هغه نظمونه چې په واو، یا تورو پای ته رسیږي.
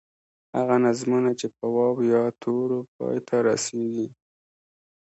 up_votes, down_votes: 2, 0